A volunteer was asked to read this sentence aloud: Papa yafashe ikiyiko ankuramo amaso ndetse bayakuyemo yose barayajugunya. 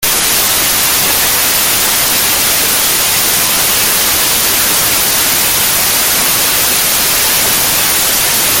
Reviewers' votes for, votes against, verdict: 0, 2, rejected